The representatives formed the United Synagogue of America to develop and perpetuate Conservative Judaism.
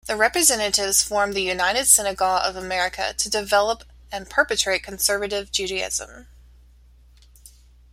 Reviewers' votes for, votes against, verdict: 1, 2, rejected